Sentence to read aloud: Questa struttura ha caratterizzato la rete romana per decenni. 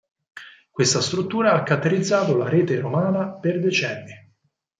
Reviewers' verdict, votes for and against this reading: rejected, 0, 4